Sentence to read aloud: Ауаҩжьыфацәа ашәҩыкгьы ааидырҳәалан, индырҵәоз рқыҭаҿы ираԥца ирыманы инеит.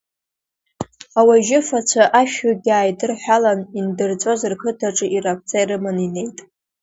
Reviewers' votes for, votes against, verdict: 0, 2, rejected